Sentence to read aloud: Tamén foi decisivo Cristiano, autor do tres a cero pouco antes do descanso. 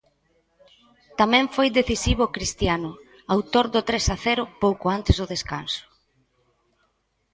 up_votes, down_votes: 2, 0